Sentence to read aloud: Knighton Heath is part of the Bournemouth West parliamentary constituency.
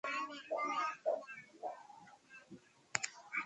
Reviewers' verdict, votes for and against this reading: rejected, 0, 2